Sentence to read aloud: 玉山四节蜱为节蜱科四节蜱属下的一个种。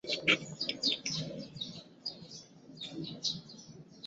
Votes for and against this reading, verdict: 0, 2, rejected